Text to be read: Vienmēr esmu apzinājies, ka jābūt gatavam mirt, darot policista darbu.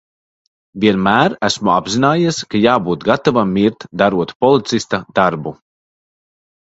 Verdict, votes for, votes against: accepted, 2, 0